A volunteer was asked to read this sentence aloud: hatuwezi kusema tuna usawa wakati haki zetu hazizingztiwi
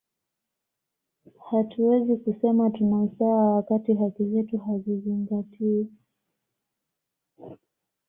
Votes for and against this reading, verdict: 2, 0, accepted